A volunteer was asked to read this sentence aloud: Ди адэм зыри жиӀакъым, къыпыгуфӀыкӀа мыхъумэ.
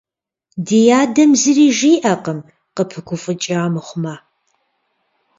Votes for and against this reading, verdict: 0, 2, rejected